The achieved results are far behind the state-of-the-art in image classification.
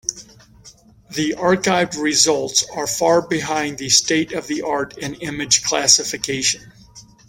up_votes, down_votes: 1, 2